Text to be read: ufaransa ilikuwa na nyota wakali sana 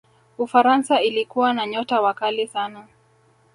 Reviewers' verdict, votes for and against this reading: rejected, 1, 2